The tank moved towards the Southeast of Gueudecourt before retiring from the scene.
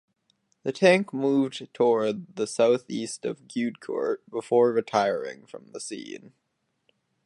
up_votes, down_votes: 2, 2